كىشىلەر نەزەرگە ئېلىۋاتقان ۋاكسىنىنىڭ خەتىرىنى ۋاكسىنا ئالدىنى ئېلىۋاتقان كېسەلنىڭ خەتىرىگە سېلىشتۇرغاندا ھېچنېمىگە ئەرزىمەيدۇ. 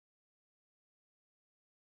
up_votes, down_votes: 0, 2